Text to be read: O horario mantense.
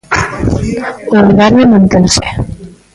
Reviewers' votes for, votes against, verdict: 0, 2, rejected